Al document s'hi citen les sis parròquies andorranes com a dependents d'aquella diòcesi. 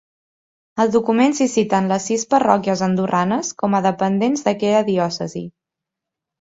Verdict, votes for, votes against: accepted, 2, 0